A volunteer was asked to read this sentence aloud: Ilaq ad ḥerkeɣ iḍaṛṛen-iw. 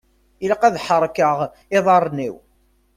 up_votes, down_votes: 2, 0